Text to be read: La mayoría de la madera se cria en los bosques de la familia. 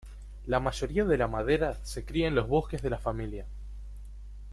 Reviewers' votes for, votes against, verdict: 2, 0, accepted